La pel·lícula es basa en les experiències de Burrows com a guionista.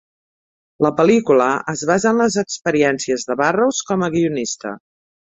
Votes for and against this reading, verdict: 2, 0, accepted